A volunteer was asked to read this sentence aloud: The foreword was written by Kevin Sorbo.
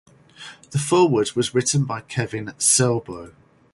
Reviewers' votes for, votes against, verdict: 4, 0, accepted